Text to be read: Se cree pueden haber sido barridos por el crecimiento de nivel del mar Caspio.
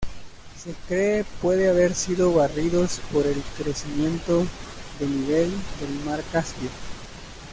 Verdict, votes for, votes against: rejected, 1, 2